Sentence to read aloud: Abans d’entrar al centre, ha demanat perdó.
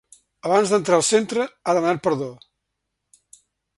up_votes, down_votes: 3, 0